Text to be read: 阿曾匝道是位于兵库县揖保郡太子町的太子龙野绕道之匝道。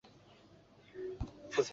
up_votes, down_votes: 2, 0